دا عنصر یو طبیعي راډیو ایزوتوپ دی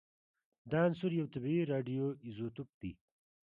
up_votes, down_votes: 2, 0